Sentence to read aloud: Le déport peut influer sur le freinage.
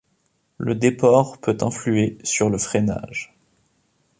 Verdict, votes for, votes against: accepted, 2, 0